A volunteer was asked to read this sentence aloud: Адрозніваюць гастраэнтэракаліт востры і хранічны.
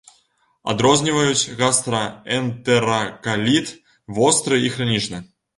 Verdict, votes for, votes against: rejected, 1, 2